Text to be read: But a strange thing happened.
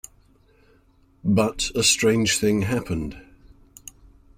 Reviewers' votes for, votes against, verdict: 2, 0, accepted